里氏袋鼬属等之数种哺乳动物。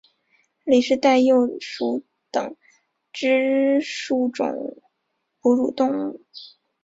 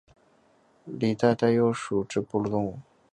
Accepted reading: first